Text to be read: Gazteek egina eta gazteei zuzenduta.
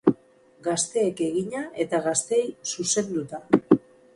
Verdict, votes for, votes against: rejected, 2, 2